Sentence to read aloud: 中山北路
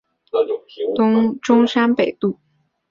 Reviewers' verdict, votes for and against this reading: accepted, 4, 1